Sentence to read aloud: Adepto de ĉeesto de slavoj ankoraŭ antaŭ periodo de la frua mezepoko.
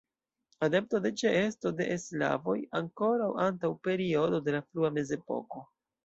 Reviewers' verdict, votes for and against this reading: accepted, 2, 0